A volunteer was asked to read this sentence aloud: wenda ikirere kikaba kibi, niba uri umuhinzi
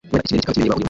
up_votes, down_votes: 1, 2